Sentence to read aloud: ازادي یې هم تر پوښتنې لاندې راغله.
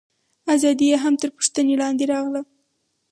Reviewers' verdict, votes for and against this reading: rejected, 2, 2